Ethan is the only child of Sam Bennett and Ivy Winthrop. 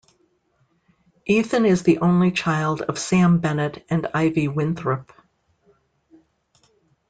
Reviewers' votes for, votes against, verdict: 2, 0, accepted